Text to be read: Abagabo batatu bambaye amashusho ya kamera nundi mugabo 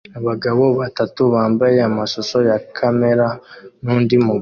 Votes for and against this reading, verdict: 2, 0, accepted